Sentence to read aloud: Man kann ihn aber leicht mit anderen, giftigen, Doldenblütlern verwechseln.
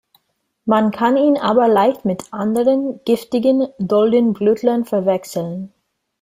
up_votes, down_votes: 2, 0